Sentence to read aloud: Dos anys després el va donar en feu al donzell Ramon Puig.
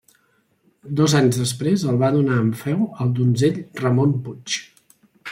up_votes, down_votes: 3, 0